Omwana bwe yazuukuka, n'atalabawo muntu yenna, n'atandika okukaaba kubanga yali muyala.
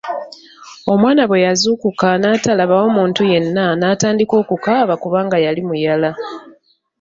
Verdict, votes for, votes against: rejected, 1, 2